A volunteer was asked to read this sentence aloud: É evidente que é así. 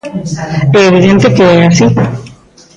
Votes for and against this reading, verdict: 1, 2, rejected